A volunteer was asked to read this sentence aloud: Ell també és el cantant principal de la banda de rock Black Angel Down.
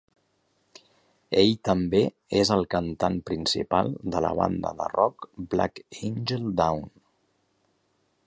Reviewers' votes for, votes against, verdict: 3, 1, accepted